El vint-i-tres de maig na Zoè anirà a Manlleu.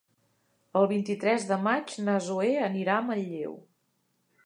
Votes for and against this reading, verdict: 4, 0, accepted